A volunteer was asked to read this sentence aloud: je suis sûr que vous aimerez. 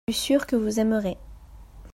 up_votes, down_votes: 0, 2